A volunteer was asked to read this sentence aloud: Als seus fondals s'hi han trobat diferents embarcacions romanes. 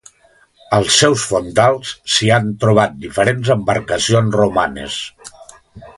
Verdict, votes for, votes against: accepted, 2, 0